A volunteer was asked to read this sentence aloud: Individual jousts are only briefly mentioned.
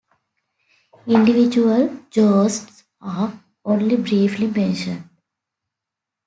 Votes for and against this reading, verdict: 0, 2, rejected